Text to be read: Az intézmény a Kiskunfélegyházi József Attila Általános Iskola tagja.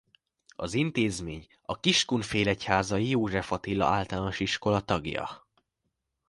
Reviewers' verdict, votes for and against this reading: rejected, 0, 2